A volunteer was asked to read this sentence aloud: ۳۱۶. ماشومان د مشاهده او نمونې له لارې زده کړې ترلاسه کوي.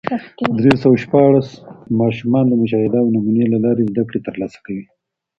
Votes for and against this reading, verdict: 0, 2, rejected